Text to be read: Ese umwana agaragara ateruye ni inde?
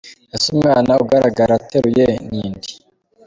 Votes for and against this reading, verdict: 2, 0, accepted